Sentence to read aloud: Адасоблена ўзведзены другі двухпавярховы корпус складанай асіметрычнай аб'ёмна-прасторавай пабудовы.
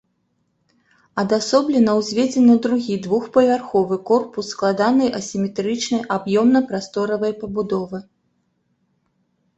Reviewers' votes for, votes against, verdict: 2, 0, accepted